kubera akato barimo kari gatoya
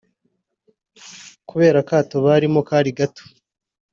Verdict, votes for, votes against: rejected, 1, 2